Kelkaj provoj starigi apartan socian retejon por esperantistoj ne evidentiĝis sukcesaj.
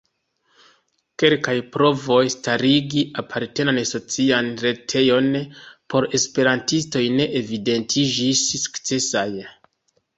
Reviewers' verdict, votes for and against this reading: rejected, 0, 2